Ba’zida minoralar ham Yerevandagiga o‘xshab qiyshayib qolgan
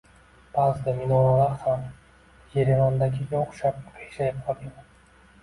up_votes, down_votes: 1, 2